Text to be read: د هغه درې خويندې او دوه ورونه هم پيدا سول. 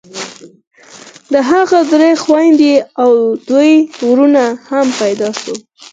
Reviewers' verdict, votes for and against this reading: accepted, 4, 2